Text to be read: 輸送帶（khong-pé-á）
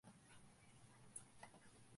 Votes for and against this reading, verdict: 0, 2, rejected